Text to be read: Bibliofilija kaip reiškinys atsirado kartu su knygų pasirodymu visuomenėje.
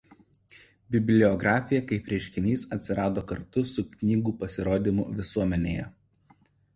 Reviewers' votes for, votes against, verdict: 1, 2, rejected